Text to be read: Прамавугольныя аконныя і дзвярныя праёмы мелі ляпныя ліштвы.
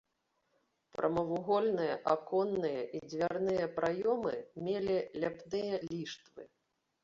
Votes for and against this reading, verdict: 0, 2, rejected